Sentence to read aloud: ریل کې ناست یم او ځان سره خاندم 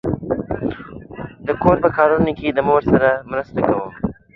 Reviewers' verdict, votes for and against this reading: rejected, 0, 2